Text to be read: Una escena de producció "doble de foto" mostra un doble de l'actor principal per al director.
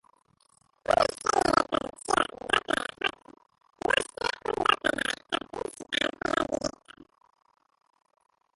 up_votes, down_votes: 0, 2